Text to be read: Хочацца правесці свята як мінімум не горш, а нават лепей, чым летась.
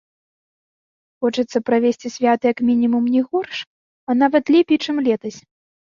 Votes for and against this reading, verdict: 2, 0, accepted